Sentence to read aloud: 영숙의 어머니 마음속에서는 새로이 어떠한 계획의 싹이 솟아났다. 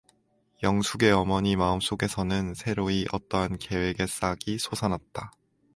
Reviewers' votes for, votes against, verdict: 2, 0, accepted